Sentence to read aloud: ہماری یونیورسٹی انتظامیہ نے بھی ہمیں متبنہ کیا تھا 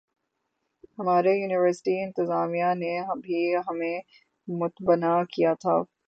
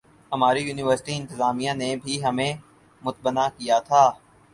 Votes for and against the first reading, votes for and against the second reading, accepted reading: 0, 6, 6, 0, second